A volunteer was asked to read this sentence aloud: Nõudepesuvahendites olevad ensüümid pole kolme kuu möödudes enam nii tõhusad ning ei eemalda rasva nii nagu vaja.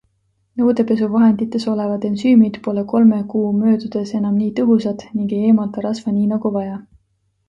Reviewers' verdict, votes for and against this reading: accepted, 2, 0